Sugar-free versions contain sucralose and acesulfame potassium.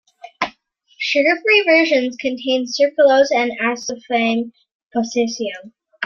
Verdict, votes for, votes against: rejected, 1, 2